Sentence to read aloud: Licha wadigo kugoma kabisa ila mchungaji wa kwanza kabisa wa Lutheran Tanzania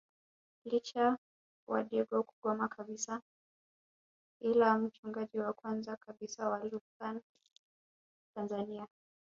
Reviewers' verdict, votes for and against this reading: rejected, 0, 2